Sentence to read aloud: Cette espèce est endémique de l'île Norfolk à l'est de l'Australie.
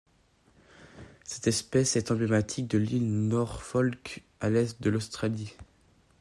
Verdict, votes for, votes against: rejected, 0, 2